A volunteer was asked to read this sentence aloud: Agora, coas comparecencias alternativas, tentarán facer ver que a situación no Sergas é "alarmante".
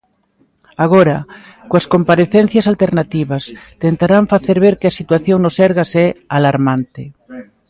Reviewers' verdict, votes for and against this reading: accepted, 2, 0